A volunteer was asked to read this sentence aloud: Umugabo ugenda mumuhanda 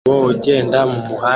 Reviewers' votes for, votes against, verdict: 0, 2, rejected